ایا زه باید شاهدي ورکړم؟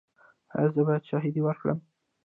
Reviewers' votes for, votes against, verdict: 2, 0, accepted